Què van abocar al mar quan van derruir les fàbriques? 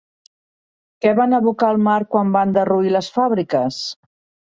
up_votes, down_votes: 4, 0